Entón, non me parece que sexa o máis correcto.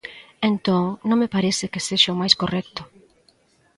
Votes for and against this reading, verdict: 2, 0, accepted